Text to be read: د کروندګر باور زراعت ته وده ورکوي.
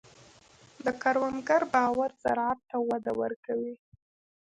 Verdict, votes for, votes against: accepted, 2, 0